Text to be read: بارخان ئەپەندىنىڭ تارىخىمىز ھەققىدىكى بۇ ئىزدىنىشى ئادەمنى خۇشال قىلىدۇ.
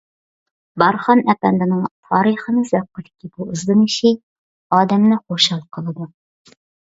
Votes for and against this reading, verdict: 2, 0, accepted